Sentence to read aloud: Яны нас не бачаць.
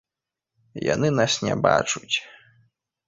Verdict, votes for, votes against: rejected, 1, 2